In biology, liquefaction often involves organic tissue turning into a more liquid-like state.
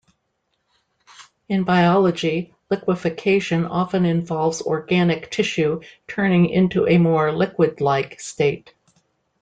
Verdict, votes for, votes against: rejected, 1, 2